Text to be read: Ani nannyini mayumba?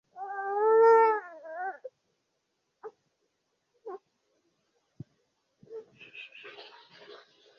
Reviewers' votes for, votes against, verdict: 0, 2, rejected